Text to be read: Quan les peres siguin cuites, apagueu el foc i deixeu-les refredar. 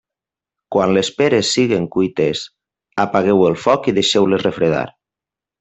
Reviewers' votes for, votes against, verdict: 1, 2, rejected